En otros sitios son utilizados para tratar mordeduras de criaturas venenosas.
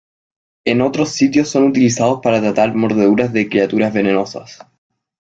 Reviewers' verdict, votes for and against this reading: accepted, 2, 0